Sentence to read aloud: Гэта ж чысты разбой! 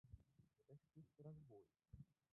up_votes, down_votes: 0, 2